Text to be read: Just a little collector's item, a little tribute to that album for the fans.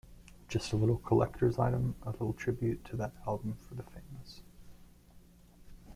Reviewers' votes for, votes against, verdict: 0, 2, rejected